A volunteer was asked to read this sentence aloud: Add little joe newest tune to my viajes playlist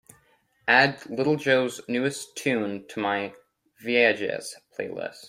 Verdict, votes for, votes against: accepted, 3, 1